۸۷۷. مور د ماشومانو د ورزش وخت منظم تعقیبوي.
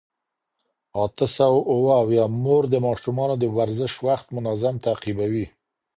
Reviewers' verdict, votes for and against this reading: rejected, 0, 2